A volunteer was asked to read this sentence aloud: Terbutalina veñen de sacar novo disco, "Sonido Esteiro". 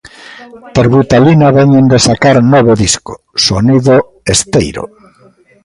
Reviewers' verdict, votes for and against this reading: rejected, 1, 2